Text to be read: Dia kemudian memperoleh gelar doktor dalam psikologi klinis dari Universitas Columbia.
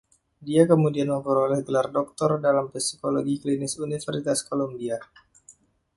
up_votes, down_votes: 1, 2